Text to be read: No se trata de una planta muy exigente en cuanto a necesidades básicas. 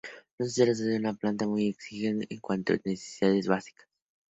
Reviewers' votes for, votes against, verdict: 2, 0, accepted